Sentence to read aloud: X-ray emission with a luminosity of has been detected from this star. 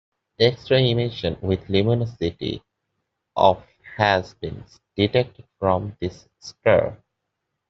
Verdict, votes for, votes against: rejected, 0, 2